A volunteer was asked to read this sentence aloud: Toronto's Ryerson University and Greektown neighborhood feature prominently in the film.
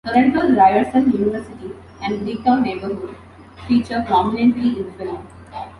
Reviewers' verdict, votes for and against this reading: rejected, 1, 2